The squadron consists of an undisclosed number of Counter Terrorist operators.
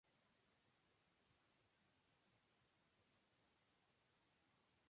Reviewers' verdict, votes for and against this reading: rejected, 0, 2